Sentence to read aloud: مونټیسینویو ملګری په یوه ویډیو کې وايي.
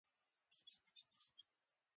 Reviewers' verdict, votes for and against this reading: rejected, 1, 2